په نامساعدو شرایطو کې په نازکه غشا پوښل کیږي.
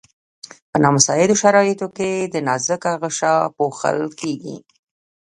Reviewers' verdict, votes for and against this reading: rejected, 0, 2